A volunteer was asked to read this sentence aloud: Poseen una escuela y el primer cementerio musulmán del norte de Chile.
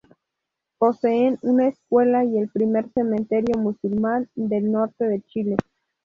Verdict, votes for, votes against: accepted, 10, 0